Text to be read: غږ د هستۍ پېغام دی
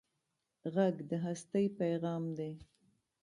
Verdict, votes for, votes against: accepted, 2, 0